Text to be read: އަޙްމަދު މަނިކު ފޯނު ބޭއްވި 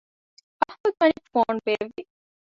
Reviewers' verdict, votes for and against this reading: rejected, 0, 2